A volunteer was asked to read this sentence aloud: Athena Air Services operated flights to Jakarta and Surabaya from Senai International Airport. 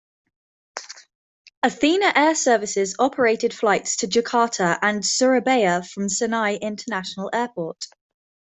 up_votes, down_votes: 2, 0